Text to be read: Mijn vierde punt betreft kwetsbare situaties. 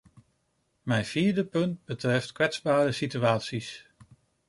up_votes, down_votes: 2, 0